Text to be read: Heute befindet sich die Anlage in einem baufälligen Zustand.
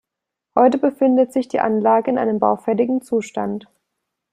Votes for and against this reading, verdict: 2, 0, accepted